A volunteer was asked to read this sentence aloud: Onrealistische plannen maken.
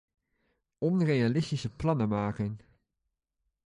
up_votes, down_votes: 2, 0